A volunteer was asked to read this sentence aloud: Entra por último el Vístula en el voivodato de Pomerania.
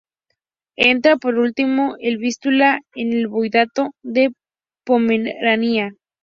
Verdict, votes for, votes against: rejected, 0, 2